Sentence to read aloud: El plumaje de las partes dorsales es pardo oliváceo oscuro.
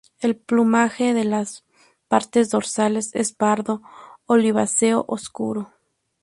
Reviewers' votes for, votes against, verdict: 2, 0, accepted